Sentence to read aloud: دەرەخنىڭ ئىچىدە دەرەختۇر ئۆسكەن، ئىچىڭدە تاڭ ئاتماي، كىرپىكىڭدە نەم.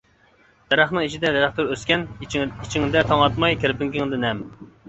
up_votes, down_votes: 0, 2